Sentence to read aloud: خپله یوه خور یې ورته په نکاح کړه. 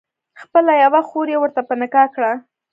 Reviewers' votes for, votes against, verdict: 1, 2, rejected